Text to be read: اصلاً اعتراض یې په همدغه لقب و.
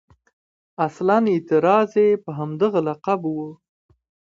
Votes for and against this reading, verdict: 2, 1, accepted